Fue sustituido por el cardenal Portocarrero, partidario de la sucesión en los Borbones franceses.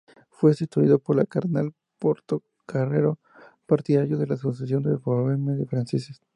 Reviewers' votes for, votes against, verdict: 0, 2, rejected